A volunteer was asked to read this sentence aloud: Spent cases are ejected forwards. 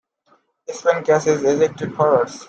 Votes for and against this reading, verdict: 2, 1, accepted